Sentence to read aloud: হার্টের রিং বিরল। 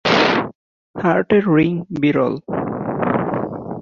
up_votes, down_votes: 11, 1